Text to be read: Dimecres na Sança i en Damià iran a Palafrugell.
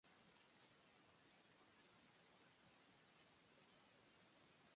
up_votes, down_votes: 2, 3